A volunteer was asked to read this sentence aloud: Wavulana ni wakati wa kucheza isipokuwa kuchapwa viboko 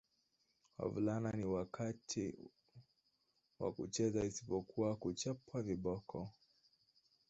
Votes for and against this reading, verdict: 1, 2, rejected